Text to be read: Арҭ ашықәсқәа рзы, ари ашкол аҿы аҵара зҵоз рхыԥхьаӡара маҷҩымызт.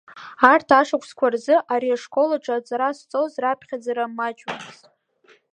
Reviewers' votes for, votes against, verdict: 0, 2, rejected